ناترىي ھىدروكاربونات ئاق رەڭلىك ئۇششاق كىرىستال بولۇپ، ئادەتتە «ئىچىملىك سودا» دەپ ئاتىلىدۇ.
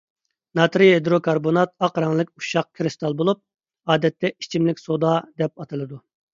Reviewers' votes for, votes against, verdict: 2, 1, accepted